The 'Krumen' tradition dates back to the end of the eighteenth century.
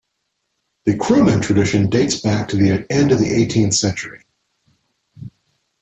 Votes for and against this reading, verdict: 2, 0, accepted